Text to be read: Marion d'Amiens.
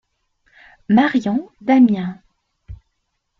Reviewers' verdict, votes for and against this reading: accepted, 2, 0